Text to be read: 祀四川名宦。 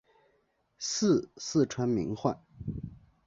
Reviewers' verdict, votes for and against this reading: accepted, 3, 1